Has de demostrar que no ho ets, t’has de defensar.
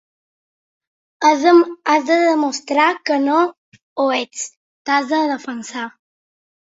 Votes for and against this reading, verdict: 1, 2, rejected